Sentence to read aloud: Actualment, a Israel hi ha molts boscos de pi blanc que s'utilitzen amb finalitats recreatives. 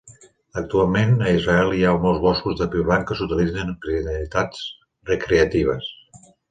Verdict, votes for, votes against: rejected, 1, 2